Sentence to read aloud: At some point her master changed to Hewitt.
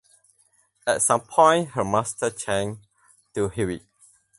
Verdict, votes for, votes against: accepted, 4, 0